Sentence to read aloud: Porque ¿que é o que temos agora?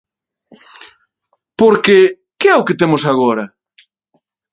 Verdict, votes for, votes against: accepted, 2, 0